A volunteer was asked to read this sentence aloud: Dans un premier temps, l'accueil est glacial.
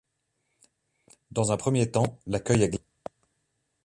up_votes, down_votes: 0, 2